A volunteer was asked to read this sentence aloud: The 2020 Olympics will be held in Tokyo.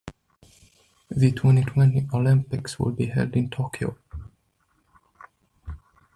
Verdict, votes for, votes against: rejected, 0, 2